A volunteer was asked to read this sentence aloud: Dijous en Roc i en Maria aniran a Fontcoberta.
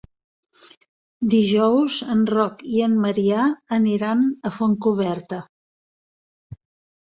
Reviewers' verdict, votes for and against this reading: accepted, 2, 1